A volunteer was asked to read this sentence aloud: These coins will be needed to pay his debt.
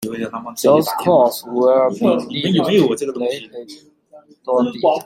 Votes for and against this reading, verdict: 0, 2, rejected